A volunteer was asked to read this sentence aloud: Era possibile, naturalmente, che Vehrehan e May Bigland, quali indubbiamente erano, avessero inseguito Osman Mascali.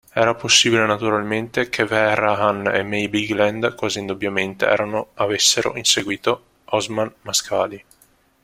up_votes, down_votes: 2, 0